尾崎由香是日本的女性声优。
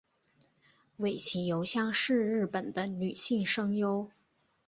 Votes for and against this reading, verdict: 2, 0, accepted